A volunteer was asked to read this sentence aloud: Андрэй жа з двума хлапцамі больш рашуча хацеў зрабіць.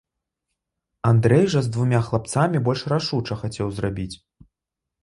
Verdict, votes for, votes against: rejected, 1, 2